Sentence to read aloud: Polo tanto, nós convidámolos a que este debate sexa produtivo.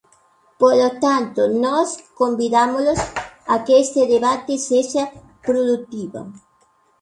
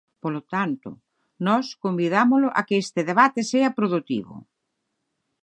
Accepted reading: first